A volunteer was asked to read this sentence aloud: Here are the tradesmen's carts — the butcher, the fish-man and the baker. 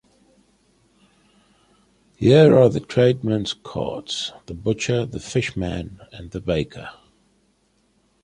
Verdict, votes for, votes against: accepted, 2, 0